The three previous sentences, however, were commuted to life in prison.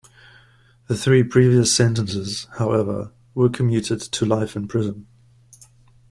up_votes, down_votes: 2, 0